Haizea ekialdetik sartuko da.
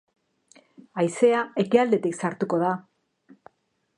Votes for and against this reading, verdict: 3, 1, accepted